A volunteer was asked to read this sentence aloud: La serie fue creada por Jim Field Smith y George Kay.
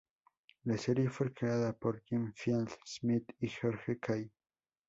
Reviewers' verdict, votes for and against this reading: rejected, 2, 2